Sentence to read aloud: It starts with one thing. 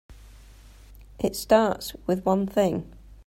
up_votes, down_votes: 3, 0